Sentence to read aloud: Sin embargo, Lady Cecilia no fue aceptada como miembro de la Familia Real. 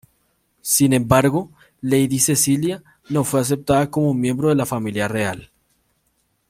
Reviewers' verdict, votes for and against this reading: accepted, 2, 0